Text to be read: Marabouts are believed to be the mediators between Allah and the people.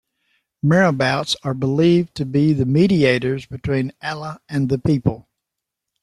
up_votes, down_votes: 2, 0